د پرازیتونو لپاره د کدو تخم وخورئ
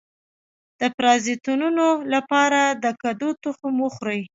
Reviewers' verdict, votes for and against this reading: accepted, 2, 0